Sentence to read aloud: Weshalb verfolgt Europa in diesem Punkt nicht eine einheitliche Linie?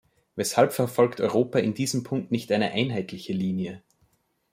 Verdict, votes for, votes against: accepted, 2, 0